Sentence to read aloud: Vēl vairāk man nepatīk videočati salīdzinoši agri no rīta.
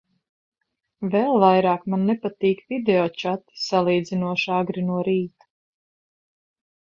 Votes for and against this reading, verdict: 2, 0, accepted